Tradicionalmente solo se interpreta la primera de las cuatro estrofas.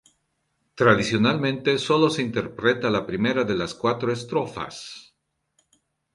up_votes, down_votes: 2, 0